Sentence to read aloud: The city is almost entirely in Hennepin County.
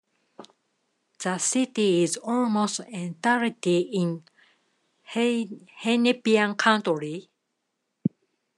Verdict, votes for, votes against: rejected, 0, 2